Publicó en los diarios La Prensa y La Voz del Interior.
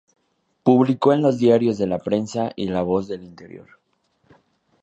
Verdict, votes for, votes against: accepted, 2, 0